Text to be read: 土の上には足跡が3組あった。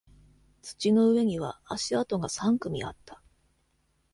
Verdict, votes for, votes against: rejected, 0, 2